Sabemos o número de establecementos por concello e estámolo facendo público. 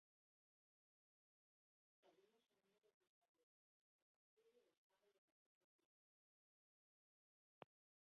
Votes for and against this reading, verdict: 0, 2, rejected